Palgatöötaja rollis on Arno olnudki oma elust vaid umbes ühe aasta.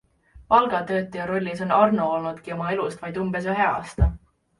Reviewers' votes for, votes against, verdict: 2, 0, accepted